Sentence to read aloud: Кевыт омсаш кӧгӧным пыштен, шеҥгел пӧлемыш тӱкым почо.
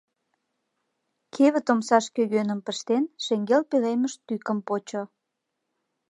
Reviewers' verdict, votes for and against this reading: accepted, 2, 0